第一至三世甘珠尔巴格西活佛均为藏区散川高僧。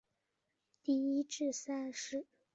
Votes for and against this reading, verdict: 0, 2, rejected